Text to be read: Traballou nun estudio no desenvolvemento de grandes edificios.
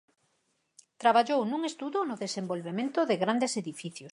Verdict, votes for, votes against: rejected, 0, 4